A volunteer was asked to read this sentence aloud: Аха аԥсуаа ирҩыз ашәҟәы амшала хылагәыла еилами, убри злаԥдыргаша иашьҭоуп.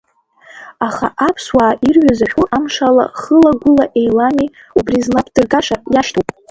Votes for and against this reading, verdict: 0, 2, rejected